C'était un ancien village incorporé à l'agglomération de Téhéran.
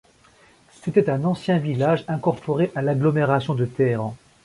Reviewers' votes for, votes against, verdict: 2, 0, accepted